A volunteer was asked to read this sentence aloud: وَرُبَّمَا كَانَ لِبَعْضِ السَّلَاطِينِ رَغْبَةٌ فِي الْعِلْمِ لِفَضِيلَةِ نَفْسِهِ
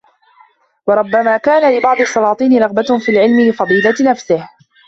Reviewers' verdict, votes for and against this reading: rejected, 1, 2